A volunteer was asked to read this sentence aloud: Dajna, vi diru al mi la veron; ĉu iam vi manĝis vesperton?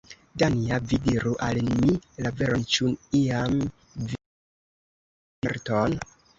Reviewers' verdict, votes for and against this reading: rejected, 0, 2